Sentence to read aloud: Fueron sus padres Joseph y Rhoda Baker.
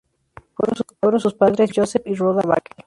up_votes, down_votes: 2, 0